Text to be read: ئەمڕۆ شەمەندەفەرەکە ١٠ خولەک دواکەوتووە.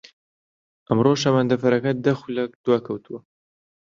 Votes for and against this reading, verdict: 0, 2, rejected